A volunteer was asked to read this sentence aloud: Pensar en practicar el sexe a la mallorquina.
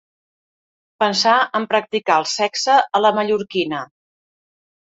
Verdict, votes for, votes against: accepted, 2, 0